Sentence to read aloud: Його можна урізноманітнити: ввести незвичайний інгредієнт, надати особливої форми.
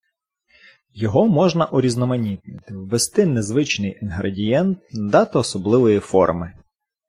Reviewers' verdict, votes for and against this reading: rejected, 1, 2